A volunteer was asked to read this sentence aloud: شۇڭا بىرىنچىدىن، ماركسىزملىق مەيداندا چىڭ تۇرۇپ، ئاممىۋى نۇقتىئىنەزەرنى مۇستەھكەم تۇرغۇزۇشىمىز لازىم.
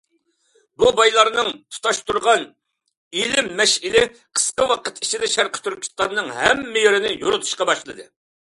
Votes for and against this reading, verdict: 0, 2, rejected